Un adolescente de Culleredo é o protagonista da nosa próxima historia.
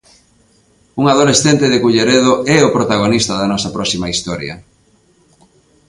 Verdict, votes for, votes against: accepted, 2, 0